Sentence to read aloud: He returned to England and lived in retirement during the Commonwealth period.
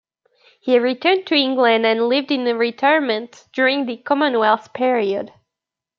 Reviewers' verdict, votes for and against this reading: rejected, 1, 2